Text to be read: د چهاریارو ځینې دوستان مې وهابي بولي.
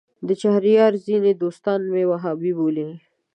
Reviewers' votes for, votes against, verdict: 2, 0, accepted